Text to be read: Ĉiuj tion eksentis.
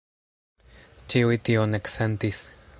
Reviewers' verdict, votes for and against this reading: rejected, 1, 2